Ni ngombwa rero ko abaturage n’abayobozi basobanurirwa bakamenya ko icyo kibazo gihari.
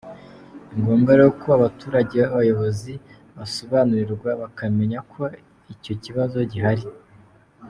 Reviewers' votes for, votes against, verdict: 2, 0, accepted